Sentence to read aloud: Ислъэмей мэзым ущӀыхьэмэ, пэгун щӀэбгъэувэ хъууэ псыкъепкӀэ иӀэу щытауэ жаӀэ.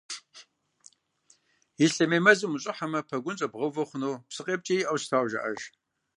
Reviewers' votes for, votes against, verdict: 1, 2, rejected